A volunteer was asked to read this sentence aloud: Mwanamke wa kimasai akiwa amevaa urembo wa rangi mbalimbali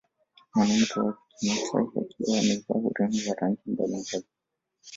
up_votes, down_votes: 2, 0